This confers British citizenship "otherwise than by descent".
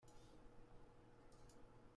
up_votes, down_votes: 0, 2